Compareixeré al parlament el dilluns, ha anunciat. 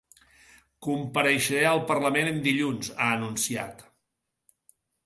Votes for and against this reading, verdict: 1, 2, rejected